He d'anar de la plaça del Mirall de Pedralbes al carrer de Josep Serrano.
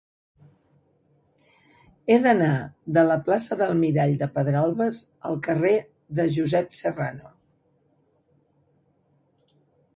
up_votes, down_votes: 4, 0